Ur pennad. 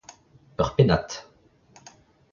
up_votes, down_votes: 2, 0